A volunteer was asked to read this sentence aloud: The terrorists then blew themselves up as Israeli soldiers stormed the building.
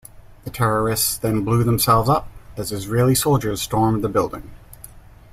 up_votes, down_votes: 2, 0